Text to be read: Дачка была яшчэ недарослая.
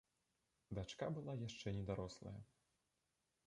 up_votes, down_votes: 3, 2